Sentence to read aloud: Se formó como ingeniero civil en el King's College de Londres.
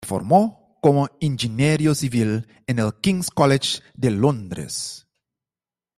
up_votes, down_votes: 0, 2